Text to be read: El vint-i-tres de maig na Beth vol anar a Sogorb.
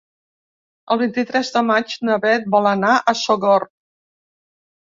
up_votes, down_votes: 2, 0